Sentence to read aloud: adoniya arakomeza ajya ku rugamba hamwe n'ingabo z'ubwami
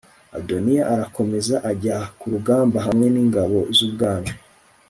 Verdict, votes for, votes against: accepted, 3, 0